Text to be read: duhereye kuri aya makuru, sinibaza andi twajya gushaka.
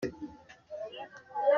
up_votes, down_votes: 0, 2